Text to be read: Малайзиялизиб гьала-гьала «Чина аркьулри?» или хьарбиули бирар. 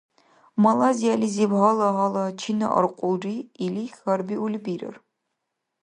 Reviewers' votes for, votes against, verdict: 2, 0, accepted